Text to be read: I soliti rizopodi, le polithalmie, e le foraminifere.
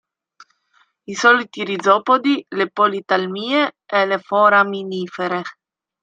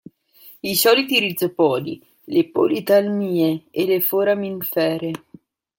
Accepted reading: first